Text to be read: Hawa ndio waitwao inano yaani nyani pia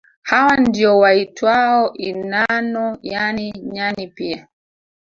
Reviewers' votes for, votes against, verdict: 0, 2, rejected